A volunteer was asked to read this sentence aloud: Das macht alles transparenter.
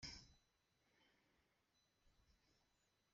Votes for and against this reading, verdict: 0, 2, rejected